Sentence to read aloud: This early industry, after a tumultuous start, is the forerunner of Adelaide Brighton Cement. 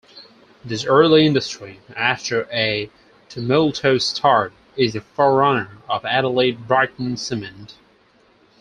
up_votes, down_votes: 0, 4